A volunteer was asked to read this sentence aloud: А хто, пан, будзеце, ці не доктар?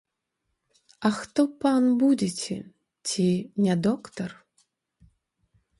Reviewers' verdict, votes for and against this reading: accepted, 2, 0